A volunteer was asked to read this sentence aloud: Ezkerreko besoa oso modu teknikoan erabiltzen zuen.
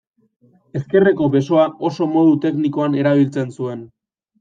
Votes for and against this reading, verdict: 2, 1, accepted